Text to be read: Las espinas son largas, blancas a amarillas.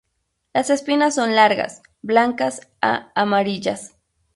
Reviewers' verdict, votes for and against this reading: rejected, 2, 2